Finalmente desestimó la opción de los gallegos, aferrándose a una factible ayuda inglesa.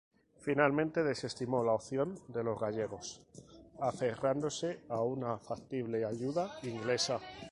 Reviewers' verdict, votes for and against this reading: rejected, 0, 2